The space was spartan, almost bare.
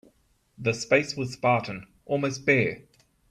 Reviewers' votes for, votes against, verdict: 4, 0, accepted